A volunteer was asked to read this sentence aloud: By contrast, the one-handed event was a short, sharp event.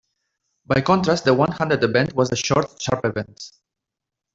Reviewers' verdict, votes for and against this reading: accepted, 2, 1